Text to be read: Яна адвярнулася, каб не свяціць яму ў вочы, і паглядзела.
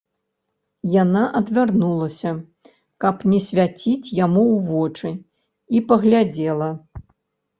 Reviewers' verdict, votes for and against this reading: accepted, 2, 0